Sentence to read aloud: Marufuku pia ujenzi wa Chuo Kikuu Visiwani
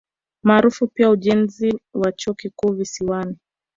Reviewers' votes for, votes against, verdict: 3, 4, rejected